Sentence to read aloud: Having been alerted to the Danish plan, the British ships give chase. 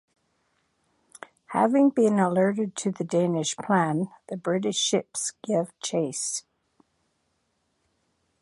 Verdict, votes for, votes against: accepted, 2, 0